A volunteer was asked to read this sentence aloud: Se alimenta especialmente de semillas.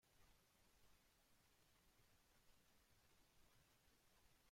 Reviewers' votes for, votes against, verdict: 0, 2, rejected